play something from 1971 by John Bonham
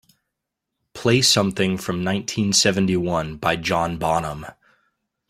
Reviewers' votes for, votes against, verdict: 0, 2, rejected